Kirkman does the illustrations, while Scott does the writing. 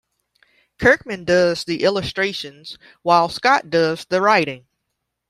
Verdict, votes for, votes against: accepted, 2, 0